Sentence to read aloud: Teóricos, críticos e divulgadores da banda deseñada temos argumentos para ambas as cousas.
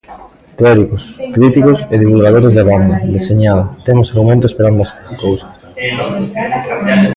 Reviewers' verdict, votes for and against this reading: rejected, 0, 2